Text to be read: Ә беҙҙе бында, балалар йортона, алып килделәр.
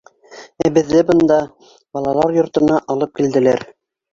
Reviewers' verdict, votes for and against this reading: rejected, 1, 2